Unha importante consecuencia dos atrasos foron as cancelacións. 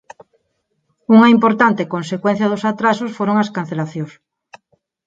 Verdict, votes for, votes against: accepted, 4, 0